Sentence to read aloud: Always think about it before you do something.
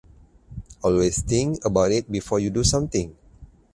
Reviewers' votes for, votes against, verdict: 4, 0, accepted